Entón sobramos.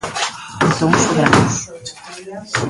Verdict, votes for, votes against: rejected, 1, 2